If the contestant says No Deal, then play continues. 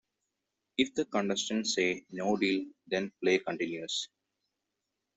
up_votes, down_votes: 0, 2